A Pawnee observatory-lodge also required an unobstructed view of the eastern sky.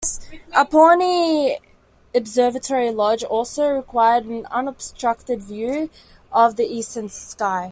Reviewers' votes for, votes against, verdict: 2, 0, accepted